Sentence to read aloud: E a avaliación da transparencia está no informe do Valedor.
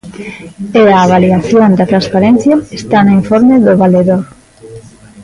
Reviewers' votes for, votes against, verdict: 2, 1, accepted